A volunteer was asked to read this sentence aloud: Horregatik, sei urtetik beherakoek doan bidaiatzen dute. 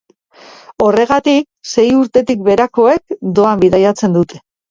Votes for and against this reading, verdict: 2, 2, rejected